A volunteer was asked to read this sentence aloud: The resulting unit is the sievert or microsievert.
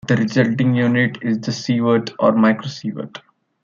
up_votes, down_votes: 2, 0